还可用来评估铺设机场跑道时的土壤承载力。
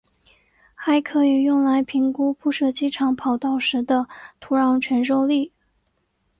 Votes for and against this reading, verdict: 5, 1, accepted